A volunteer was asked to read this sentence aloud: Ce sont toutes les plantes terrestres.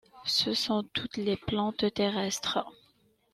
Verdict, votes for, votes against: rejected, 1, 2